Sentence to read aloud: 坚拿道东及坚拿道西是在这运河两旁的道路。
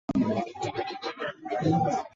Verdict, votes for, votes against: rejected, 0, 6